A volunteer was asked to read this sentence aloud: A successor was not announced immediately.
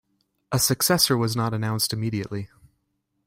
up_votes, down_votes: 2, 0